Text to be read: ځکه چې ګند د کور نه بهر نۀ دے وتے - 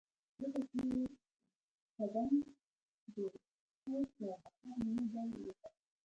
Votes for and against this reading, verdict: 1, 2, rejected